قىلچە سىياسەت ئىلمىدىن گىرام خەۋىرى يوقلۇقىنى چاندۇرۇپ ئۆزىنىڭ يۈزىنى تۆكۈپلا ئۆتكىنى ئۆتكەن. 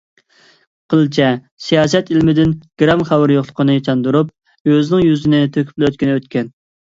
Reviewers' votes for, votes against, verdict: 2, 0, accepted